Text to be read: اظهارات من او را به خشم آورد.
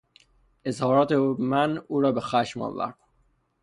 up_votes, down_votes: 0, 3